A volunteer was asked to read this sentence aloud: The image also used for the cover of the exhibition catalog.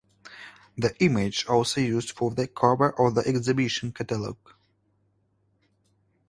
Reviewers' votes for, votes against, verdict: 2, 0, accepted